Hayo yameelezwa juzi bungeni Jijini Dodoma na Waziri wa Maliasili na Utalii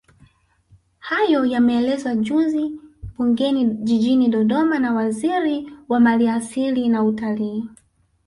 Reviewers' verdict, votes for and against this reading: rejected, 0, 2